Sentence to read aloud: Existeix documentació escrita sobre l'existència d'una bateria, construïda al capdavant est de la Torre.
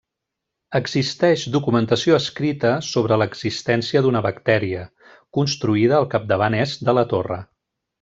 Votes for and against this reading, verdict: 0, 2, rejected